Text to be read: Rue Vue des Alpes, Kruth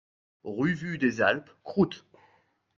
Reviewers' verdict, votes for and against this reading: accepted, 2, 0